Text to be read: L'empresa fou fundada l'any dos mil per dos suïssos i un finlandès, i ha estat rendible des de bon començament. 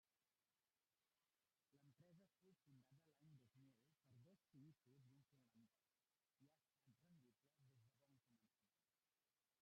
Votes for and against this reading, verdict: 0, 2, rejected